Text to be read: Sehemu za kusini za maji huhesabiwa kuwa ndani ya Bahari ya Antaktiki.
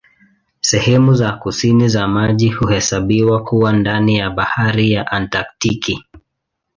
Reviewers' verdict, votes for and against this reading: accepted, 2, 0